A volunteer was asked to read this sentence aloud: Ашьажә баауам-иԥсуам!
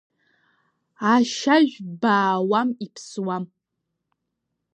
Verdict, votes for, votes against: rejected, 0, 2